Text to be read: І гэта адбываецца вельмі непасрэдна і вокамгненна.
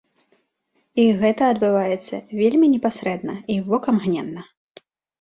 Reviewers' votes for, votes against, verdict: 2, 0, accepted